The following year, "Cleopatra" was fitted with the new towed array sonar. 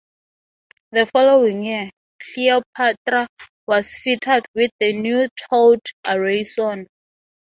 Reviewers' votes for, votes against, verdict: 6, 0, accepted